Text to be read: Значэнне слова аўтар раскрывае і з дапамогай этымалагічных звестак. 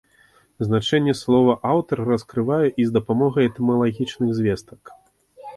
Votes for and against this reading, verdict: 2, 1, accepted